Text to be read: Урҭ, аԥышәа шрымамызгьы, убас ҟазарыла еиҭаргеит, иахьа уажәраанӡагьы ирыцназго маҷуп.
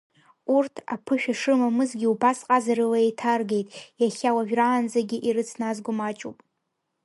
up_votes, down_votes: 0, 2